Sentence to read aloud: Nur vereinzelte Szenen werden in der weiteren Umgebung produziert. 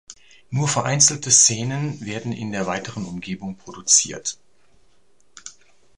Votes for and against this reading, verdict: 2, 0, accepted